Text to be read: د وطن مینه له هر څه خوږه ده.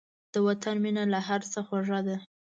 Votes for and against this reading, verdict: 2, 0, accepted